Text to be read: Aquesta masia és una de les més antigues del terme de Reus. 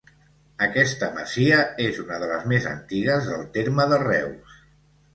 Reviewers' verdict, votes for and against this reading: rejected, 0, 2